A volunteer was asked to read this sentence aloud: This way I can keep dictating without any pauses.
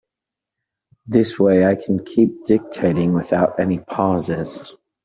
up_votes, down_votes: 2, 0